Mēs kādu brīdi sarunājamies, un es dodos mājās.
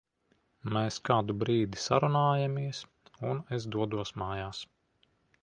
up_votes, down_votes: 2, 0